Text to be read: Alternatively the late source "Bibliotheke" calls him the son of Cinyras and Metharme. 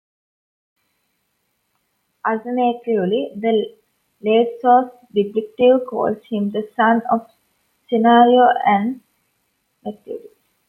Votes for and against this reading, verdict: 0, 2, rejected